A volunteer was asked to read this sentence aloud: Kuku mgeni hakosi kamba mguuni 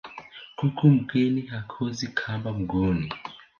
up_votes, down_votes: 1, 2